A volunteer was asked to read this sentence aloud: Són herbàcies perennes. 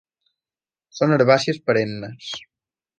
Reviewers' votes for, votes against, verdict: 2, 0, accepted